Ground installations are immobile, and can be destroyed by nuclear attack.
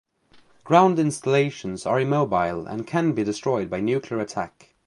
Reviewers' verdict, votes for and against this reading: accepted, 2, 0